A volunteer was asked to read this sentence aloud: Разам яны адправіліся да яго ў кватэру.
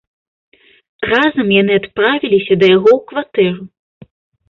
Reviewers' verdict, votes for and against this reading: accepted, 3, 0